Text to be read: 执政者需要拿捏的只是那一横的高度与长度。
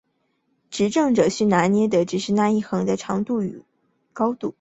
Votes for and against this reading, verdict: 1, 4, rejected